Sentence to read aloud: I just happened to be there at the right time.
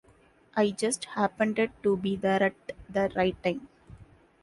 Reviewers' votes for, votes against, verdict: 2, 1, accepted